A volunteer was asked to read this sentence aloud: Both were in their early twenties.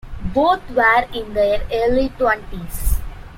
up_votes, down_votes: 2, 0